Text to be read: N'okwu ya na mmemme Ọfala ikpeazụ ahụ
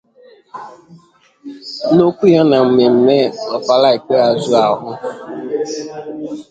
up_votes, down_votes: 0, 2